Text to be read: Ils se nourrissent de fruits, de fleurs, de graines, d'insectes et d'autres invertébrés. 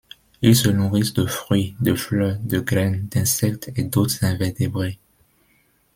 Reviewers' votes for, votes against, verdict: 2, 0, accepted